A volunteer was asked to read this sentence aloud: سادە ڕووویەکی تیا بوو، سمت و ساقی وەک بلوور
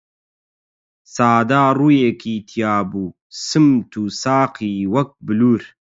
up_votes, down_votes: 4, 4